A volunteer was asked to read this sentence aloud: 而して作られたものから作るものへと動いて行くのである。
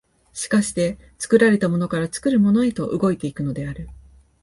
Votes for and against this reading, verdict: 2, 0, accepted